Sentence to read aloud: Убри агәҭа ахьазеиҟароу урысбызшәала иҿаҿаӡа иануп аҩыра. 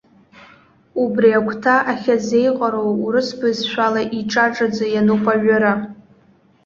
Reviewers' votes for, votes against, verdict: 2, 0, accepted